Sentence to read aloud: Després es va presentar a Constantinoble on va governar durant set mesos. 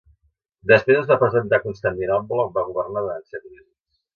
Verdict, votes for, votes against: rejected, 1, 2